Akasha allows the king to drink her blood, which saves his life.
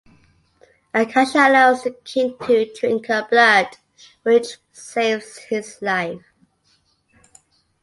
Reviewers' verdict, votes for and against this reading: accepted, 2, 0